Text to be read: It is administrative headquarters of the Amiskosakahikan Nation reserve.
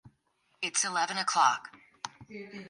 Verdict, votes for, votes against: rejected, 0, 2